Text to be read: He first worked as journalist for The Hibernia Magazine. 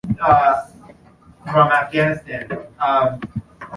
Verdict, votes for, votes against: rejected, 1, 2